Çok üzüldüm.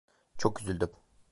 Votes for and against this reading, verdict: 0, 2, rejected